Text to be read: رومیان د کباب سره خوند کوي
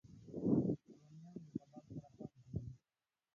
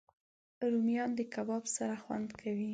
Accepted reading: second